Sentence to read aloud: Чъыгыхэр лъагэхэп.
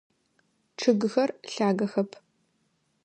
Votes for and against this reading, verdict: 2, 0, accepted